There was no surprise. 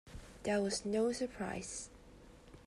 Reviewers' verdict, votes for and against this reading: accepted, 2, 0